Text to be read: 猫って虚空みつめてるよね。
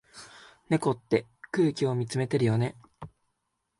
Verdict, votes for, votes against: rejected, 0, 2